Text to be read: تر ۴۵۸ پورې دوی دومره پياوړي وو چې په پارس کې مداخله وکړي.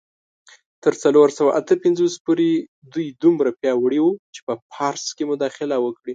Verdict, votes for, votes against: rejected, 0, 2